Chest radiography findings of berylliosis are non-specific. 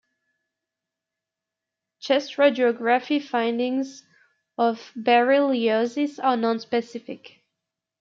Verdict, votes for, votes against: rejected, 0, 2